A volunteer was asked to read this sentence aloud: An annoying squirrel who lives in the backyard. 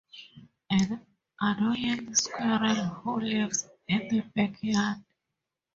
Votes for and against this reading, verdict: 0, 2, rejected